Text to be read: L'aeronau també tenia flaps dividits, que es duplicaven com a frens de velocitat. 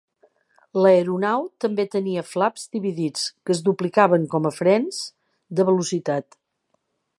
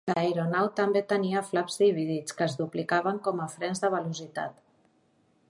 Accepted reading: first